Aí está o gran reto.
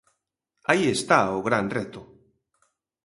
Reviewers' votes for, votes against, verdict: 2, 0, accepted